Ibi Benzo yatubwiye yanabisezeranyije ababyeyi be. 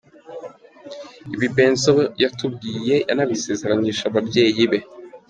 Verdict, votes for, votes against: accepted, 2, 0